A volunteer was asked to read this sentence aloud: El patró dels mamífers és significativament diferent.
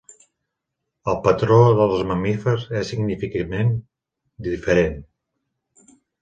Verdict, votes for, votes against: rejected, 0, 2